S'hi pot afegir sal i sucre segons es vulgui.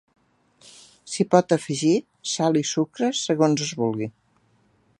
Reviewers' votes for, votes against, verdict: 3, 0, accepted